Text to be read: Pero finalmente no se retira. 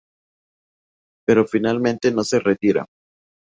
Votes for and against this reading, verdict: 2, 0, accepted